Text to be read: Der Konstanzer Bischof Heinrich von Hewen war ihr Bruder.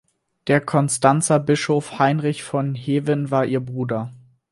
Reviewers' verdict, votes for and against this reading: accepted, 4, 0